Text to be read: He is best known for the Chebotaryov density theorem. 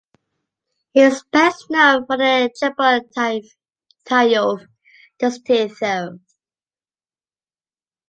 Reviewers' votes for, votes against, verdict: 2, 1, accepted